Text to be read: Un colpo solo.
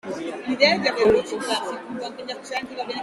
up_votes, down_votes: 0, 3